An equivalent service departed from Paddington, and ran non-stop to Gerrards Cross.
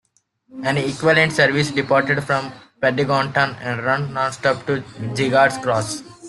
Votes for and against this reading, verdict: 0, 2, rejected